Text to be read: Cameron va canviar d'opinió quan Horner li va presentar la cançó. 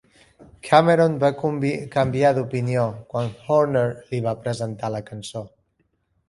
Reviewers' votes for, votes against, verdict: 0, 2, rejected